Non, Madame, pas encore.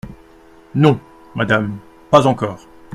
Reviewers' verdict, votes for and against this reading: accepted, 2, 0